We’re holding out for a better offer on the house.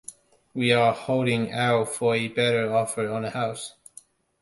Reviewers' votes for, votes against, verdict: 1, 2, rejected